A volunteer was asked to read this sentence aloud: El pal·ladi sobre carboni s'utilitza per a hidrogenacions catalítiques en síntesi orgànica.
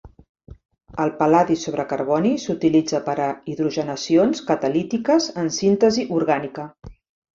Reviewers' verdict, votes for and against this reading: accepted, 2, 0